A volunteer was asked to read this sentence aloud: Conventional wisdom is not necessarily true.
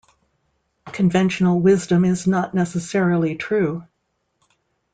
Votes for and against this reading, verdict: 2, 0, accepted